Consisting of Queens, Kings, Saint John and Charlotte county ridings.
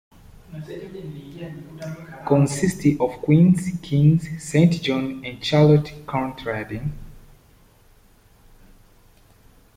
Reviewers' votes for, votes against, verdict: 0, 2, rejected